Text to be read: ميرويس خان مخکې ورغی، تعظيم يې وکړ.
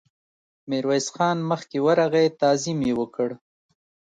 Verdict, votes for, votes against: accepted, 2, 0